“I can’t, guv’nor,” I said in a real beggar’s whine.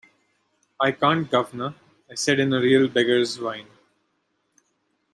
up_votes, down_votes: 2, 0